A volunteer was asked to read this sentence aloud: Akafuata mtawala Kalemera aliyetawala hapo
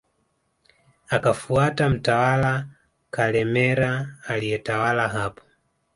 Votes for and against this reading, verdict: 2, 0, accepted